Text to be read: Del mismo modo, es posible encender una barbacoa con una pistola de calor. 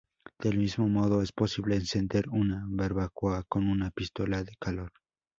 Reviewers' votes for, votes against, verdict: 2, 2, rejected